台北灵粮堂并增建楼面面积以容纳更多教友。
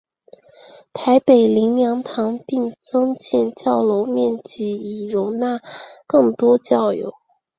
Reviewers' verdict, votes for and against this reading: accepted, 4, 2